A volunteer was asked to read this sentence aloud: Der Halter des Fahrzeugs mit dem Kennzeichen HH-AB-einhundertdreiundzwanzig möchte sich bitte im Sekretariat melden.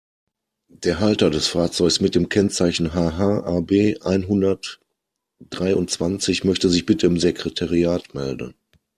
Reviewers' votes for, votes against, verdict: 2, 0, accepted